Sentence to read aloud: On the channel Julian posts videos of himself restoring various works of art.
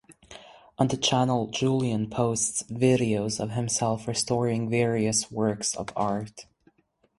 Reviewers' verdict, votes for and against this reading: accepted, 4, 2